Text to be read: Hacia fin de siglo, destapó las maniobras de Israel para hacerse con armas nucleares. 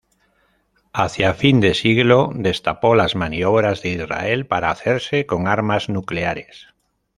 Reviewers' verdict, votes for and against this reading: accepted, 2, 0